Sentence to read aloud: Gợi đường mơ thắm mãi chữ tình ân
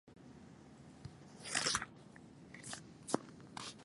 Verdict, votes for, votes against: rejected, 0, 2